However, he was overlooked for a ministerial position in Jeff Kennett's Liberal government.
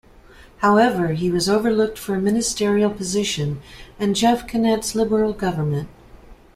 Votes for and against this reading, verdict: 2, 0, accepted